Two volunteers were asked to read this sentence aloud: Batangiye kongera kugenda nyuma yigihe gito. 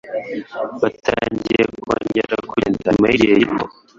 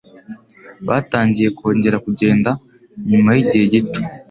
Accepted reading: second